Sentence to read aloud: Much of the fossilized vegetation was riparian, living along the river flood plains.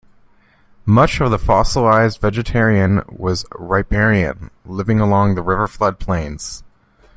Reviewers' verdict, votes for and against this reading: rejected, 0, 3